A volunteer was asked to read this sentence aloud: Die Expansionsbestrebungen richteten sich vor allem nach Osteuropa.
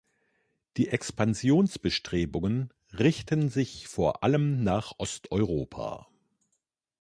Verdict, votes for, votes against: rejected, 0, 2